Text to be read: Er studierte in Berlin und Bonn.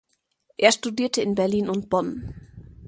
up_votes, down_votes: 2, 0